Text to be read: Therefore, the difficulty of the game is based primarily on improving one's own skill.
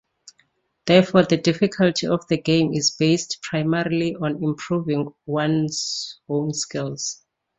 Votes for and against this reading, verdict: 0, 2, rejected